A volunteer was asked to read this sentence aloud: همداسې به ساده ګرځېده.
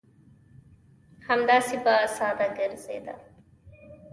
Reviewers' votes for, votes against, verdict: 2, 0, accepted